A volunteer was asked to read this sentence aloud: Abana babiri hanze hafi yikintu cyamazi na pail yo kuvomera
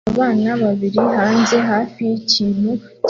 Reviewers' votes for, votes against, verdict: 0, 2, rejected